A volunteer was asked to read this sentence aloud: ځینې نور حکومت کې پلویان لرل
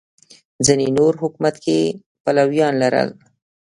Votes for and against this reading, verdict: 2, 0, accepted